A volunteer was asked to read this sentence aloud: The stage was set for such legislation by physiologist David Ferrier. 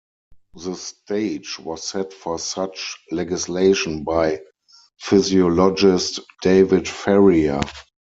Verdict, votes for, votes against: rejected, 2, 4